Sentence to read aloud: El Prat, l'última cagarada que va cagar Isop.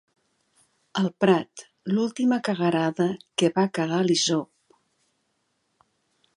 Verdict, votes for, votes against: rejected, 0, 2